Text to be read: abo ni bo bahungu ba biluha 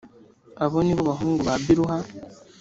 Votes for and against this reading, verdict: 2, 0, accepted